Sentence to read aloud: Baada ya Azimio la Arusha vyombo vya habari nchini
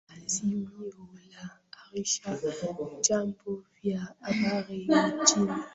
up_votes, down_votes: 0, 2